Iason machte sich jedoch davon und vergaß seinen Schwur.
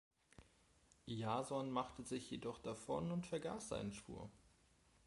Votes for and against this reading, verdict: 1, 2, rejected